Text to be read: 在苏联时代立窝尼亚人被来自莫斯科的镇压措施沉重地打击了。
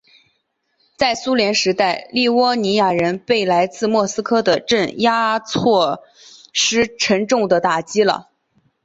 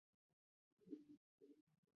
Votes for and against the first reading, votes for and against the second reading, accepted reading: 4, 2, 0, 5, first